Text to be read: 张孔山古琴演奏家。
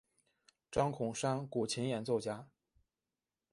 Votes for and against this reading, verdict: 2, 0, accepted